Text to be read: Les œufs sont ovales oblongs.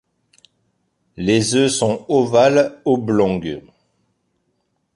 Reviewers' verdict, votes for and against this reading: accepted, 2, 0